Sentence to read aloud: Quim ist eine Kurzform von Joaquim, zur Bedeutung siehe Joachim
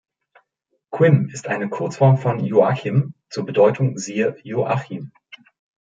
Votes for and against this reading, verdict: 1, 2, rejected